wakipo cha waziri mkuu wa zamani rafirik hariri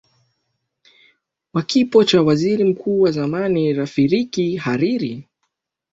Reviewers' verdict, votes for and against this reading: accepted, 2, 0